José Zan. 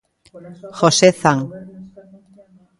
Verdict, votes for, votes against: rejected, 1, 2